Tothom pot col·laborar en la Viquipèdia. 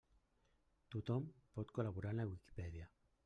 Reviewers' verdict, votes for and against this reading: rejected, 1, 2